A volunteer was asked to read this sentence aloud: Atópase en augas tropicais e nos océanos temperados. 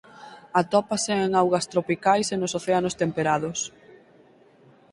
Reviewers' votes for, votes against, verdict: 4, 0, accepted